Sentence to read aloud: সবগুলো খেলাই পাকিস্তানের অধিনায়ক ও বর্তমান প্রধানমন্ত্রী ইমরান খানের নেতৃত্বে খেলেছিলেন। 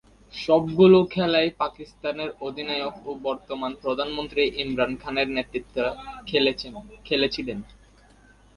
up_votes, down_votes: 0, 2